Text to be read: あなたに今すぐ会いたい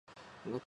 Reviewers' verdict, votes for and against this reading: rejected, 0, 2